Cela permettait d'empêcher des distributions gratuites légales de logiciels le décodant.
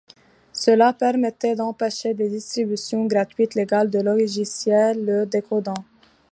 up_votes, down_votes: 2, 0